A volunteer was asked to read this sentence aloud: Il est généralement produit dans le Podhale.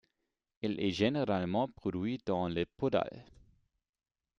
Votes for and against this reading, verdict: 2, 0, accepted